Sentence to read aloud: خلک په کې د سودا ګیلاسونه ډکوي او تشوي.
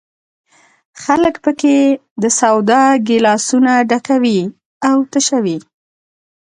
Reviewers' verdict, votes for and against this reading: accepted, 4, 0